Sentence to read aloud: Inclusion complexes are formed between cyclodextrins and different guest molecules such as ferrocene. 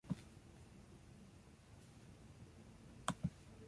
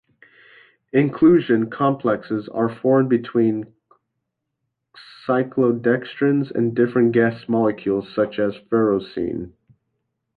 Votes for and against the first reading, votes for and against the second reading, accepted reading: 0, 2, 2, 0, second